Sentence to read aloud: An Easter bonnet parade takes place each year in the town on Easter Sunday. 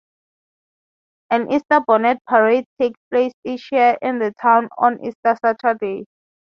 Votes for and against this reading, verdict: 0, 3, rejected